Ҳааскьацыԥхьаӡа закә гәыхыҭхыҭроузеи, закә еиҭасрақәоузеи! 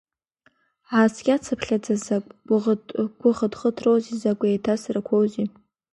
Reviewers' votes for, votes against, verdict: 2, 0, accepted